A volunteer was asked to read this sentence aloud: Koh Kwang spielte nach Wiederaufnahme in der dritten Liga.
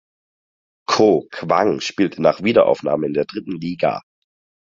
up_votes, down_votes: 4, 0